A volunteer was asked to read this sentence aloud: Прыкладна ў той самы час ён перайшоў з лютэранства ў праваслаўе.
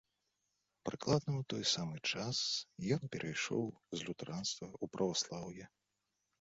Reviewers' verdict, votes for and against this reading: accepted, 2, 0